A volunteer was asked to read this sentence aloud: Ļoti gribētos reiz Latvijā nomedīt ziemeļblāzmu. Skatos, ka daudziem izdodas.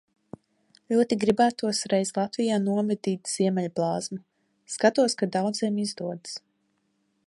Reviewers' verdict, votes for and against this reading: rejected, 0, 2